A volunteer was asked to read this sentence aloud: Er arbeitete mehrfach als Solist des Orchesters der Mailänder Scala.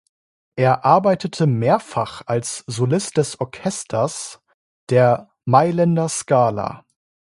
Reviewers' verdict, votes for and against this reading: accepted, 2, 0